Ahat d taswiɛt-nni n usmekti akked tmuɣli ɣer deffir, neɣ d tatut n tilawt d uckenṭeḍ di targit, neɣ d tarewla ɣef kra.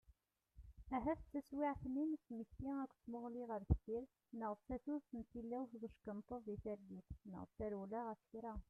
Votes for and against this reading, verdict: 0, 2, rejected